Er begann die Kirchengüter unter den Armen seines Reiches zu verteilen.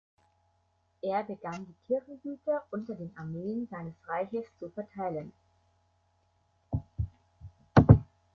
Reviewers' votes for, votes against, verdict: 0, 2, rejected